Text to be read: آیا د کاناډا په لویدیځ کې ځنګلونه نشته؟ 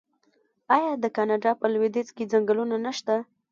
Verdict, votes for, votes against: rejected, 0, 2